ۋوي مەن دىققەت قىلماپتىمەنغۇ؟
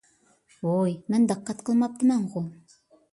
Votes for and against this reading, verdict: 2, 0, accepted